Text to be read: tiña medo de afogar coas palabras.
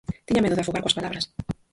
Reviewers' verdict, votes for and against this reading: rejected, 0, 4